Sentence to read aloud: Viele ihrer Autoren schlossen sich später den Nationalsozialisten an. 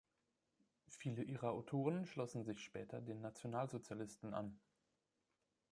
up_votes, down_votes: 3, 1